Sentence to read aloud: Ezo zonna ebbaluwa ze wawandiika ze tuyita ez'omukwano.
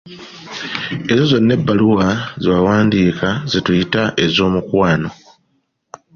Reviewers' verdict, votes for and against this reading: accepted, 2, 0